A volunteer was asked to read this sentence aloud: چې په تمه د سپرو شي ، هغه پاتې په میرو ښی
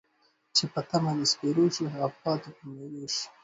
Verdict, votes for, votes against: accepted, 2, 0